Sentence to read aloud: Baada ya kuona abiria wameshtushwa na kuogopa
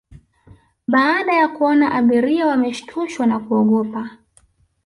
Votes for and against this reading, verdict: 2, 0, accepted